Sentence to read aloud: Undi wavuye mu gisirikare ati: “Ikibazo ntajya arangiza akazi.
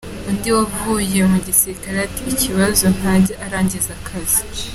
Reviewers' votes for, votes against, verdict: 3, 0, accepted